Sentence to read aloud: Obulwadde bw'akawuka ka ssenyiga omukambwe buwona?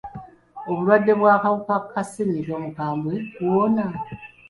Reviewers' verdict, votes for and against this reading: accepted, 2, 1